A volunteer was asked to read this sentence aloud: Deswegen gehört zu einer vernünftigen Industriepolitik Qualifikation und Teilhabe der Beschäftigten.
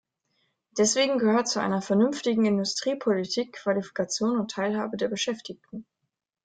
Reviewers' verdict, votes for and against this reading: accepted, 2, 0